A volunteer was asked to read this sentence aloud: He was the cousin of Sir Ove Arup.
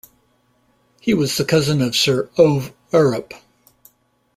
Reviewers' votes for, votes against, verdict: 2, 1, accepted